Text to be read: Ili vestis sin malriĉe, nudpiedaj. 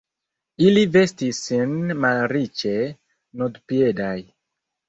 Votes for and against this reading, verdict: 2, 0, accepted